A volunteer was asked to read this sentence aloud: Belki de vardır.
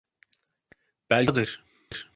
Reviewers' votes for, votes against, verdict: 0, 2, rejected